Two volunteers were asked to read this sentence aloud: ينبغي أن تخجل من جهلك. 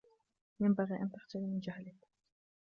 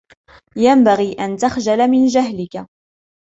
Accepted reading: second